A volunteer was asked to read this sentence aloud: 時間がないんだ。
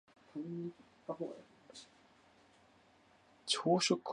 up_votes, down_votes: 0, 3